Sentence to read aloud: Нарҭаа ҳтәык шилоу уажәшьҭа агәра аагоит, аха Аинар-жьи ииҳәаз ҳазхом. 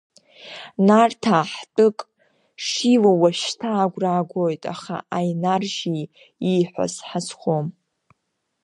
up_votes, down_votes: 2, 0